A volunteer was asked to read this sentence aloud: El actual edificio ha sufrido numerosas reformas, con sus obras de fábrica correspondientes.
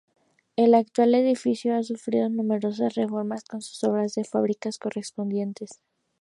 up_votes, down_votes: 2, 0